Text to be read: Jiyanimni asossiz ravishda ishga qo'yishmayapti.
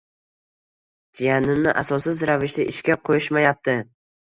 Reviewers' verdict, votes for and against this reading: rejected, 1, 2